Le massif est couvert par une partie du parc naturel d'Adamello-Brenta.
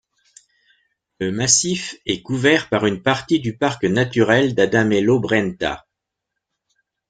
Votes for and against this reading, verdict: 2, 0, accepted